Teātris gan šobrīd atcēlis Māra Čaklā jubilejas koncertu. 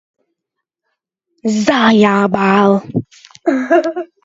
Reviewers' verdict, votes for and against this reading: rejected, 0, 2